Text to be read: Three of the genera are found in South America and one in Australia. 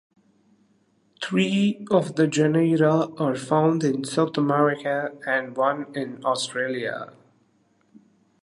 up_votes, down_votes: 0, 2